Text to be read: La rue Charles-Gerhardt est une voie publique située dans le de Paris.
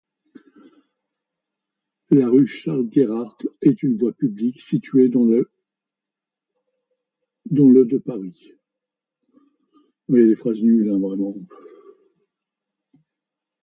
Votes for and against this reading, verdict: 1, 2, rejected